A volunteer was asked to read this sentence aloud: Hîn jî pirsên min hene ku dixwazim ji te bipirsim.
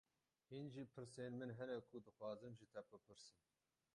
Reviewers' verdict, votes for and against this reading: rejected, 0, 12